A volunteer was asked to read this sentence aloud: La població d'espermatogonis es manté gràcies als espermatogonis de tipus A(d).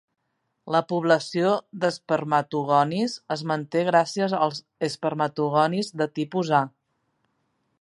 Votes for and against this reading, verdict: 1, 2, rejected